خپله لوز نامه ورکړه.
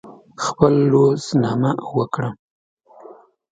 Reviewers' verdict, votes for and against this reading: rejected, 0, 2